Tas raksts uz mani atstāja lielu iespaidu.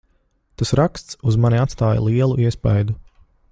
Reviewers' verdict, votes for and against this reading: accepted, 2, 0